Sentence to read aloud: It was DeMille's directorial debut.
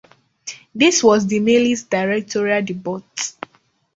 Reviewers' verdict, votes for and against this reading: rejected, 1, 2